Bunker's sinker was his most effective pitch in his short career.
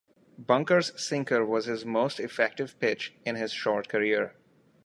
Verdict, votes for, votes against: accepted, 2, 0